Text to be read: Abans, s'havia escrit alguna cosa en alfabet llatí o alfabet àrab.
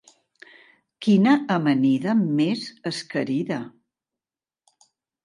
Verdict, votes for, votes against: rejected, 0, 2